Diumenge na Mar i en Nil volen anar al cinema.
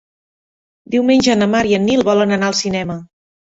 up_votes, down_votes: 3, 0